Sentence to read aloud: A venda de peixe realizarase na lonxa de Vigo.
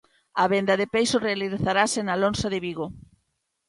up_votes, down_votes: 1, 2